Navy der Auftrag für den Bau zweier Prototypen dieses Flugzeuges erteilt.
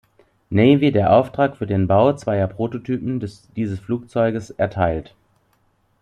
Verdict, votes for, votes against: rejected, 1, 2